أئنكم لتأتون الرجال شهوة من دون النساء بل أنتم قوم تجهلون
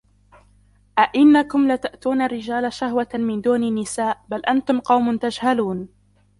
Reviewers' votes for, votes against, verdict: 1, 2, rejected